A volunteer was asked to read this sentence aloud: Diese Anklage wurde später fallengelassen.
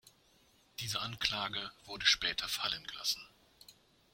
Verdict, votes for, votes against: accepted, 2, 0